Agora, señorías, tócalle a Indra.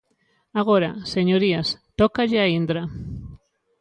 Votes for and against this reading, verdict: 2, 0, accepted